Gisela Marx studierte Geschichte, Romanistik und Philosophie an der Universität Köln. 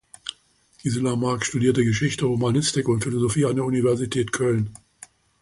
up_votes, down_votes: 2, 0